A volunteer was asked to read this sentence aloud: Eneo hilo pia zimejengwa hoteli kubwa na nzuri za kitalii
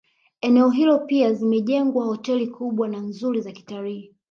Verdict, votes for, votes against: accepted, 4, 1